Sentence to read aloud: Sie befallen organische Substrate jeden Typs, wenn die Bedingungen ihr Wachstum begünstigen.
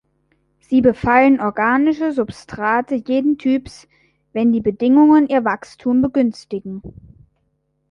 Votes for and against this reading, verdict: 3, 0, accepted